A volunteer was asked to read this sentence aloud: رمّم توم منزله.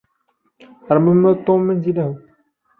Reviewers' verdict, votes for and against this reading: rejected, 1, 2